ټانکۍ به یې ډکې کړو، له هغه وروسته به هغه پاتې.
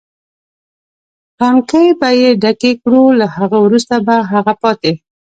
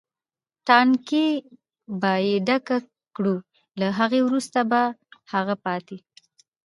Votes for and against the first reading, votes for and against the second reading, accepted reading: 1, 2, 2, 0, second